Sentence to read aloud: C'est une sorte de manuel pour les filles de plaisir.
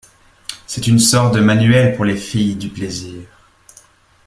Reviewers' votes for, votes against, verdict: 0, 2, rejected